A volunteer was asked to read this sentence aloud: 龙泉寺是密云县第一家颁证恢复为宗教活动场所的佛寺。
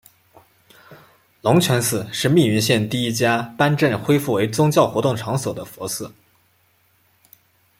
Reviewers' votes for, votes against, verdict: 2, 0, accepted